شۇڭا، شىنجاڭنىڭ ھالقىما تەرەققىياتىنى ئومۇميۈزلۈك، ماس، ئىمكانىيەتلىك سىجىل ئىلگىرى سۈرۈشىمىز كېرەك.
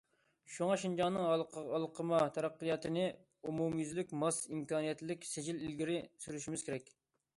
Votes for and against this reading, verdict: 0, 2, rejected